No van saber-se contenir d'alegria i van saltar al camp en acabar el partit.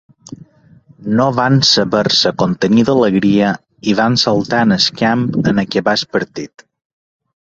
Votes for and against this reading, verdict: 0, 2, rejected